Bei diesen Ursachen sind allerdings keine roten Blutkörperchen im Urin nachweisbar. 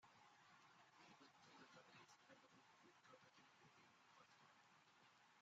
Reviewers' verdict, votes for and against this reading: rejected, 0, 3